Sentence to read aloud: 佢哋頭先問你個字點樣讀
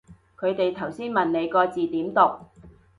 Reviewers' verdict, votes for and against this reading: rejected, 1, 2